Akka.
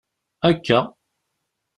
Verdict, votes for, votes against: accepted, 2, 0